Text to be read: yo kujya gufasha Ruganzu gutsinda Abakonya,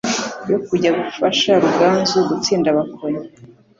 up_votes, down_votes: 3, 0